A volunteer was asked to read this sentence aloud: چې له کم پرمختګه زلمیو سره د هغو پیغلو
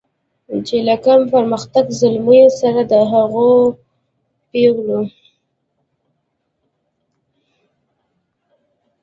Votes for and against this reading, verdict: 1, 2, rejected